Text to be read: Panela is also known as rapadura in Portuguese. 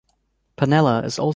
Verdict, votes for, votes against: rejected, 0, 2